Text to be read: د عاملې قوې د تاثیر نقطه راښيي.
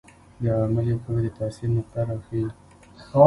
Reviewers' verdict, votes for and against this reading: accepted, 3, 0